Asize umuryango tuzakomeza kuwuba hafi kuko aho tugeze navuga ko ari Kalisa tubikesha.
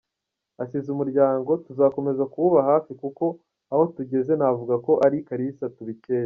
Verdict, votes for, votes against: accepted, 2, 1